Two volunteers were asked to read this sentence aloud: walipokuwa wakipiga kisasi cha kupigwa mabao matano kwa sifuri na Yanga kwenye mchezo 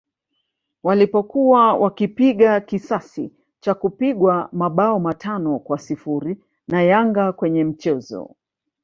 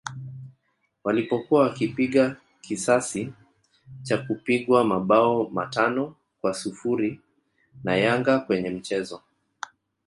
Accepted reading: second